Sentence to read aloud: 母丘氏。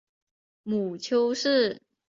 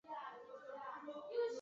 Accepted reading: first